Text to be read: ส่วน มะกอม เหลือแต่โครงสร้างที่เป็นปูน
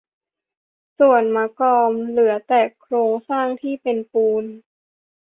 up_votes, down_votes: 2, 0